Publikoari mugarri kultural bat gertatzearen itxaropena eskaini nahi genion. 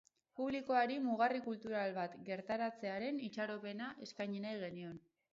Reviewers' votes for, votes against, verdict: 2, 2, rejected